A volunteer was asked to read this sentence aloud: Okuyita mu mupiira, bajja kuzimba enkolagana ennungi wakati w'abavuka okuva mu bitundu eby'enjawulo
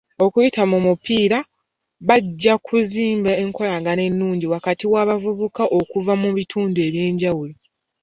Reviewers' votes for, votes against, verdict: 3, 0, accepted